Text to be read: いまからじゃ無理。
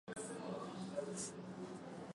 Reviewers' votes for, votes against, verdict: 5, 7, rejected